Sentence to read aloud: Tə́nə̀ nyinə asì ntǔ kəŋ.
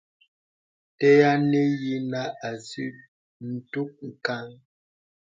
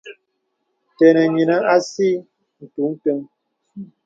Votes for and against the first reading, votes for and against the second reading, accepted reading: 0, 2, 2, 0, second